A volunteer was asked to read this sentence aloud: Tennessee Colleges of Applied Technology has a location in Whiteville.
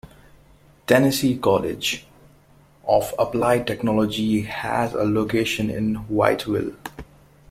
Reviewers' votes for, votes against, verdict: 2, 0, accepted